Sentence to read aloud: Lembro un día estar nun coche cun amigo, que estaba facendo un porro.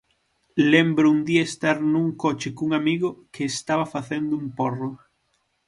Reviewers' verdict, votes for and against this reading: accepted, 6, 0